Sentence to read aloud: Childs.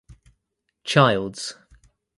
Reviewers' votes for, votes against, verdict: 2, 0, accepted